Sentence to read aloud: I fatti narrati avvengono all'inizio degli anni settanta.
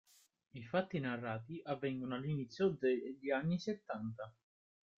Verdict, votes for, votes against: accepted, 2, 1